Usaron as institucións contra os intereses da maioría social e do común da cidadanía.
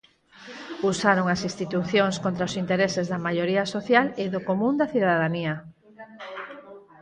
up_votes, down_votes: 2, 4